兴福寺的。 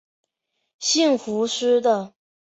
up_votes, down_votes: 1, 2